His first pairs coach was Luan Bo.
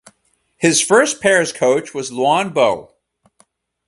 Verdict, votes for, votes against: rejected, 2, 2